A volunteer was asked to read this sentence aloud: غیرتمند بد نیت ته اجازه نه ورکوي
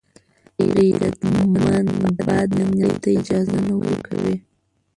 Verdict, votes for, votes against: rejected, 0, 2